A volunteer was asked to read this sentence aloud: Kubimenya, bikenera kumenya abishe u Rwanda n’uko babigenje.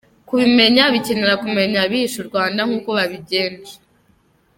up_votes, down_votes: 1, 2